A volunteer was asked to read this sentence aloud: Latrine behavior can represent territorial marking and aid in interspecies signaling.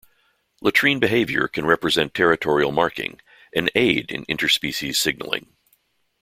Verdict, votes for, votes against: accepted, 2, 0